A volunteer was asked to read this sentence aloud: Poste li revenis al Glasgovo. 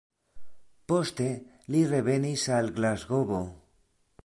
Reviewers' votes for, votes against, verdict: 2, 0, accepted